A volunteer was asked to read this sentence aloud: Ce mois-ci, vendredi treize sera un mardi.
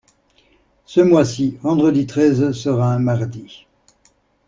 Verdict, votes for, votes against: accepted, 2, 0